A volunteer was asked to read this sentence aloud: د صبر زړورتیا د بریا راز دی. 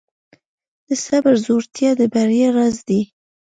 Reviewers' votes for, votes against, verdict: 2, 0, accepted